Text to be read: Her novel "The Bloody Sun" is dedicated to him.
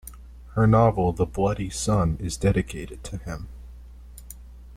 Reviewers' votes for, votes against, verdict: 2, 0, accepted